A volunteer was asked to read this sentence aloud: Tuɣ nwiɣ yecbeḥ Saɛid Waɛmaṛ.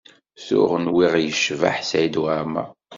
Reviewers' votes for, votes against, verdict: 2, 0, accepted